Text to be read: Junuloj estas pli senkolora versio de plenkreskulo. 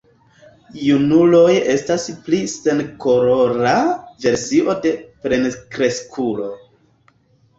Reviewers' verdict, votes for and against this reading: accepted, 2, 1